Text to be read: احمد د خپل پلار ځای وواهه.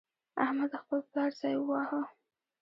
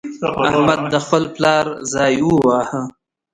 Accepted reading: first